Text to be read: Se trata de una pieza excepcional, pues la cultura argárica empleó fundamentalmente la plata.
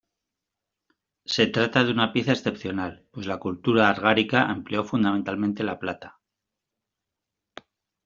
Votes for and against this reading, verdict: 1, 2, rejected